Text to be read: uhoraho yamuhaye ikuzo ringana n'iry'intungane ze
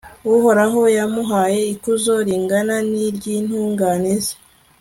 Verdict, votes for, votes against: accepted, 2, 0